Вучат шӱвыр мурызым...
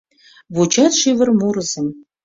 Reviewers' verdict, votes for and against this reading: accepted, 2, 0